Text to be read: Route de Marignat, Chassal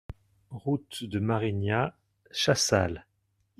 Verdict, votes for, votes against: accepted, 2, 0